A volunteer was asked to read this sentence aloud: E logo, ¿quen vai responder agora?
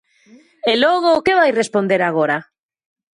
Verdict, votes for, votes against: rejected, 1, 2